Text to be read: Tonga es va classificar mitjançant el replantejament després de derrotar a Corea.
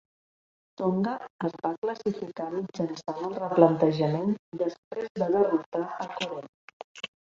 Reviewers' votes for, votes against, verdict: 0, 2, rejected